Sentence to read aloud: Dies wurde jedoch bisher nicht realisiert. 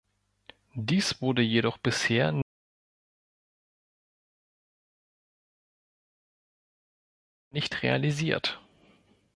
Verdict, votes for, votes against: rejected, 1, 2